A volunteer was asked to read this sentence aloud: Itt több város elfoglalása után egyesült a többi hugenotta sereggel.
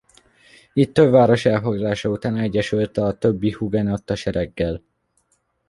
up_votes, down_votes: 1, 2